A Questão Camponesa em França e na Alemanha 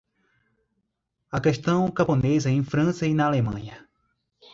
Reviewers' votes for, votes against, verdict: 2, 0, accepted